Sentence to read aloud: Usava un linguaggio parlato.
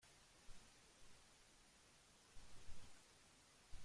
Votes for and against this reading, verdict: 0, 2, rejected